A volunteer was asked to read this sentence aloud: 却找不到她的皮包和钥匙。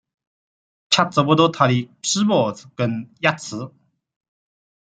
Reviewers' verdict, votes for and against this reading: accepted, 2, 0